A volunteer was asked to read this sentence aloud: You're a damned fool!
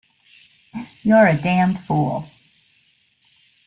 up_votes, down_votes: 2, 0